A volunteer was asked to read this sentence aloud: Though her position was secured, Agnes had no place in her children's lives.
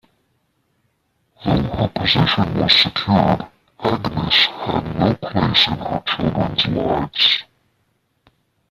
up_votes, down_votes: 0, 2